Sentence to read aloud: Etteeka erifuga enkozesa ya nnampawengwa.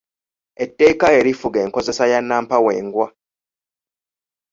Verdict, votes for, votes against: accepted, 2, 0